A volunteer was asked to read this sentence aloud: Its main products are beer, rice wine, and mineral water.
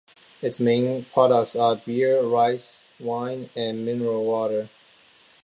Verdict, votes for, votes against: accepted, 2, 0